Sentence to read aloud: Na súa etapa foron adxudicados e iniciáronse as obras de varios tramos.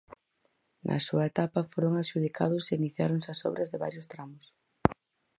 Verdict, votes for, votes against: accepted, 4, 0